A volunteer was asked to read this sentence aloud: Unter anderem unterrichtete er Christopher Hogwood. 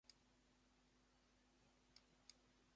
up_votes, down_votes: 0, 2